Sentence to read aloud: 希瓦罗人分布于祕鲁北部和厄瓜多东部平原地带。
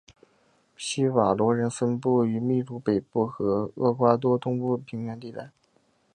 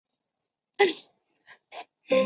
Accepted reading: first